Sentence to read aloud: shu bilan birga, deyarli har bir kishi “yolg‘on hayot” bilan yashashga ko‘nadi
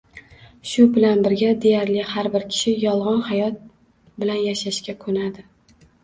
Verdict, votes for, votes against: accepted, 2, 0